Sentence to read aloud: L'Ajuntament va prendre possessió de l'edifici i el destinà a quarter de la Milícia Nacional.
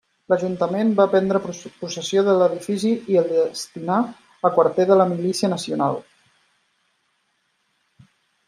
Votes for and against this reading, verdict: 0, 2, rejected